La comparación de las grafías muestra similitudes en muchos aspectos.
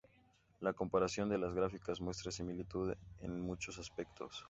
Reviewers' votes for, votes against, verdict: 2, 0, accepted